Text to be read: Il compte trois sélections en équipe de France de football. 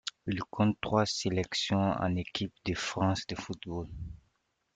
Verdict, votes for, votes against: accepted, 2, 0